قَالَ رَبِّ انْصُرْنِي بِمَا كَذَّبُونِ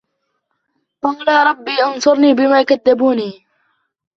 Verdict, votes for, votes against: accepted, 2, 1